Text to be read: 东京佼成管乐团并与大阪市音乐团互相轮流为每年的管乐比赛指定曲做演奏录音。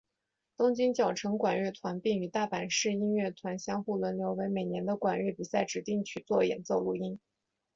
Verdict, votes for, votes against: accepted, 3, 0